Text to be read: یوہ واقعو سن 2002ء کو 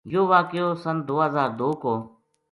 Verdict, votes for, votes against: rejected, 0, 2